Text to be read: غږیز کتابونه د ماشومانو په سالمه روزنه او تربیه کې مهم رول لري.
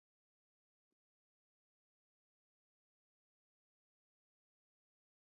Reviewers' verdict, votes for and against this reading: rejected, 0, 2